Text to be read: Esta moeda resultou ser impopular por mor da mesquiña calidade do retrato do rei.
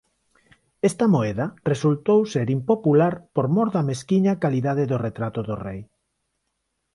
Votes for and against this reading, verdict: 10, 0, accepted